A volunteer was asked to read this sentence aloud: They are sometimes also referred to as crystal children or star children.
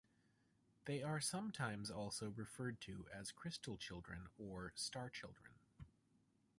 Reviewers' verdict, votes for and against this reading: accepted, 2, 0